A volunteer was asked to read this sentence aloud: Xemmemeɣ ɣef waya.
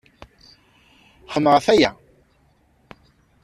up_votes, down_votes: 2, 0